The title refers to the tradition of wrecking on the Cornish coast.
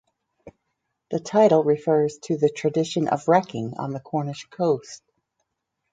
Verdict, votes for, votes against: accepted, 4, 0